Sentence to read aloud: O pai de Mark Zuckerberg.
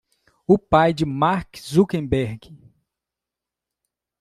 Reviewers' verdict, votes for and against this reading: rejected, 1, 2